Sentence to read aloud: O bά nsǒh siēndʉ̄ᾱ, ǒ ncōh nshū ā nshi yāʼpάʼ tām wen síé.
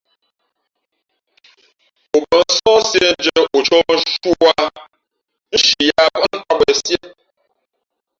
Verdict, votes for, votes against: rejected, 1, 2